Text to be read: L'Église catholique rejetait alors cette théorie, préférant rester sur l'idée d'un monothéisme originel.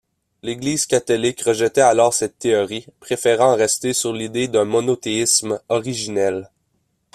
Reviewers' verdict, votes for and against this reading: accepted, 2, 0